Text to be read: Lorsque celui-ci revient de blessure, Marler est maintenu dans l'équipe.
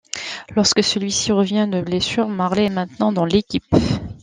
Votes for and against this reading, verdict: 0, 2, rejected